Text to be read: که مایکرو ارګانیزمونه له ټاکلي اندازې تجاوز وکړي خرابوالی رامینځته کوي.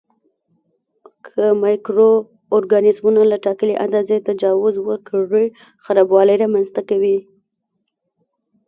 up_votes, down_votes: 0, 2